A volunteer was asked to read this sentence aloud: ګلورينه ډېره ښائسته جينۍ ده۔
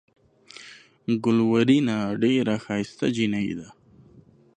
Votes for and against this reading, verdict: 2, 0, accepted